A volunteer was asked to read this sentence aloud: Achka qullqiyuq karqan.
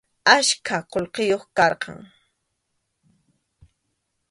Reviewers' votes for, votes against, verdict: 2, 0, accepted